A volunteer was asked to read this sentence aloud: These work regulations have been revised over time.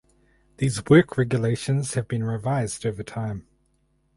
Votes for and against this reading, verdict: 4, 0, accepted